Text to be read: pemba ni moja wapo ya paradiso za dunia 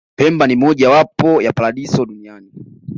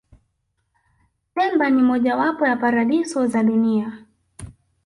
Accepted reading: first